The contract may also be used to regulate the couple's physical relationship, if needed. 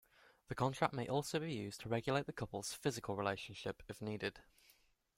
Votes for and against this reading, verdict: 2, 0, accepted